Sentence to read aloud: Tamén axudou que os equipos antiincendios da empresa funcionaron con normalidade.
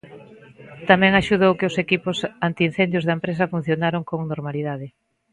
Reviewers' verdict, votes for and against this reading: accepted, 3, 0